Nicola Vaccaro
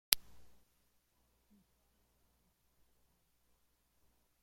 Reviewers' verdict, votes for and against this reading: rejected, 0, 2